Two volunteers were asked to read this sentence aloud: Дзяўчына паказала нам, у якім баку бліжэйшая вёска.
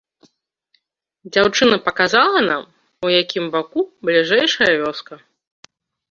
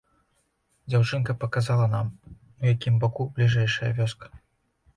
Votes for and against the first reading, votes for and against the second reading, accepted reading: 2, 0, 1, 2, first